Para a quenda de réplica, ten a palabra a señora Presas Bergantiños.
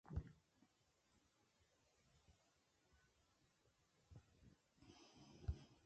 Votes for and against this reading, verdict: 0, 2, rejected